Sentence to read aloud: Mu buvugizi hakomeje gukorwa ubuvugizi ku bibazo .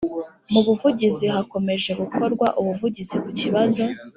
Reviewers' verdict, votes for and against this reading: accepted, 2, 0